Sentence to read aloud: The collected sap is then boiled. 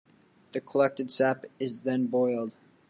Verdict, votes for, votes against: accepted, 2, 0